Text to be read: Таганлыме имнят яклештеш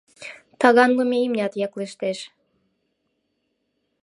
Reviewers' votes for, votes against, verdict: 2, 0, accepted